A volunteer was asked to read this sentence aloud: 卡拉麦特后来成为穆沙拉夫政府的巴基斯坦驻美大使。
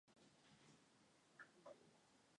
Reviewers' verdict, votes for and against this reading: rejected, 0, 2